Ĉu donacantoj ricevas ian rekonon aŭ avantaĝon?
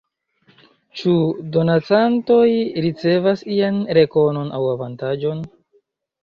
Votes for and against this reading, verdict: 2, 0, accepted